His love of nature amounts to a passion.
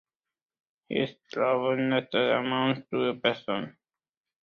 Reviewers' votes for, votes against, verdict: 0, 2, rejected